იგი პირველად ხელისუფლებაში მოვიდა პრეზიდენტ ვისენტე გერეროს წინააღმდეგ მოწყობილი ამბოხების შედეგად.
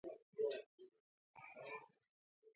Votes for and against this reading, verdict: 1, 2, rejected